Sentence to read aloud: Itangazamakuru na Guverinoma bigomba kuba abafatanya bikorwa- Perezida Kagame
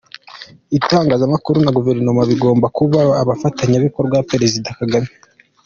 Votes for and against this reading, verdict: 2, 0, accepted